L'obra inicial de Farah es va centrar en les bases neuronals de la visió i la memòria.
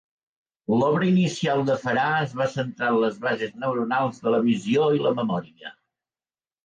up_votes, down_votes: 2, 0